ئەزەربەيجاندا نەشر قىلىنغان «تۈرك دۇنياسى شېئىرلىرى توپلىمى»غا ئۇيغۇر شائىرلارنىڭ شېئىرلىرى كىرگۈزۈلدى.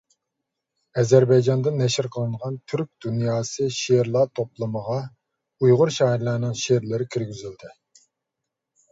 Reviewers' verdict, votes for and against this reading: rejected, 1, 2